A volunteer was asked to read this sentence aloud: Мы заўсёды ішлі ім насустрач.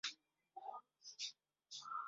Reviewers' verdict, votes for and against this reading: rejected, 0, 2